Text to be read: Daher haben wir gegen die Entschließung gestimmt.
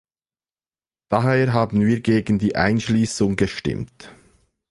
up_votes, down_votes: 0, 2